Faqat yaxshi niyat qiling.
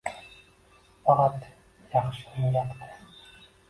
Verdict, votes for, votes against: rejected, 0, 2